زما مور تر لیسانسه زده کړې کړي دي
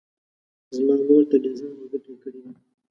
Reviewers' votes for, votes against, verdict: 1, 2, rejected